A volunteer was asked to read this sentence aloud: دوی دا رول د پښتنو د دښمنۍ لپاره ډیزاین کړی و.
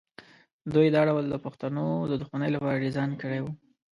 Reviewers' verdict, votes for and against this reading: rejected, 1, 2